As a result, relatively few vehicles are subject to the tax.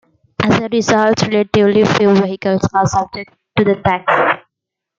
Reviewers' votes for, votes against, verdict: 2, 1, accepted